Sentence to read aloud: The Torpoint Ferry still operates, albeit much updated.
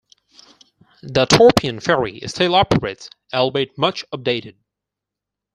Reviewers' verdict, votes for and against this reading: accepted, 4, 2